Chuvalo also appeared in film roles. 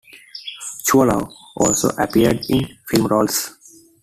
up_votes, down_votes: 2, 1